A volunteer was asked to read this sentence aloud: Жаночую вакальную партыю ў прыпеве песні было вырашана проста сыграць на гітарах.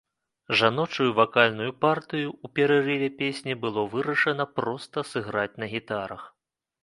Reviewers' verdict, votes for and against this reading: rejected, 0, 2